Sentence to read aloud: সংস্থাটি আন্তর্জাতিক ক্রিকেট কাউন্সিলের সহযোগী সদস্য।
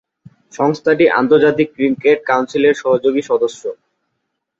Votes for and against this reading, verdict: 5, 0, accepted